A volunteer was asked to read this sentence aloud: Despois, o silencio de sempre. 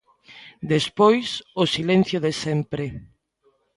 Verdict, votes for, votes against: accepted, 2, 0